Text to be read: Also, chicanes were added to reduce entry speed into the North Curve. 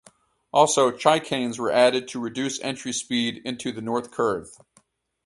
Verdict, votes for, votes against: rejected, 2, 2